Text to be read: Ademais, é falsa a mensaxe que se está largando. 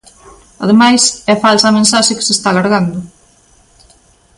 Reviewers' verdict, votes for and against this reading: accepted, 2, 0